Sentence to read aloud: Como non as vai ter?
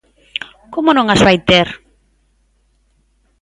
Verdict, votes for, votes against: accepted, 2, 0